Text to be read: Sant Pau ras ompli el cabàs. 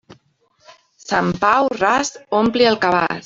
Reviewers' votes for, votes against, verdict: 1, 2, rejected